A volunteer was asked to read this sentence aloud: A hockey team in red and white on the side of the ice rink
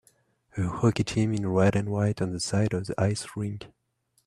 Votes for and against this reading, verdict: 2, 0, accepted